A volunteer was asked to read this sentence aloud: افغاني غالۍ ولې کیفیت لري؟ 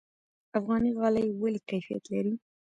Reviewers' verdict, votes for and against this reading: rejected, 1, 2